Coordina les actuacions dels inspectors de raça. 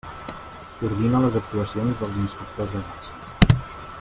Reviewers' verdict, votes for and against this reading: accepted, 2, 0